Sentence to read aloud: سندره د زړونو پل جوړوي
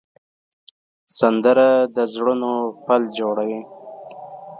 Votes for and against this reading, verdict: 2, 0, accepted